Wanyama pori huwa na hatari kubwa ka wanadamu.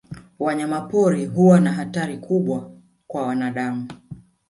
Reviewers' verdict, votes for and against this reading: rejected, 1, 2